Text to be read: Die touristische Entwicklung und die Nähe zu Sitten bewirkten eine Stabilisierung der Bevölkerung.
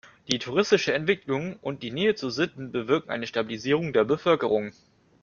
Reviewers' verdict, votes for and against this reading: accepted, 2, 0